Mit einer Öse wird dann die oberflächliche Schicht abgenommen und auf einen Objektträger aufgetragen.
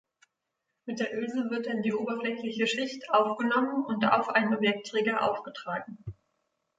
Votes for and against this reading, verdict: 0, 2, rejected